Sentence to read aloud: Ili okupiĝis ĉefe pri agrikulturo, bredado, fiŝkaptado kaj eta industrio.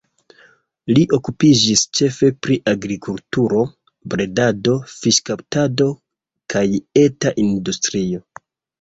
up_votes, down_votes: 2, 1